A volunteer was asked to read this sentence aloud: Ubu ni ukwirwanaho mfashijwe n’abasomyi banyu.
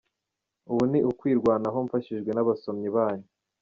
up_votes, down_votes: 3, 2